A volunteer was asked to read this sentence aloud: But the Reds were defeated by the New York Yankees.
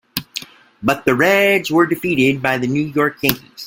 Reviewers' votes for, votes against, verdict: 2, 0, accepted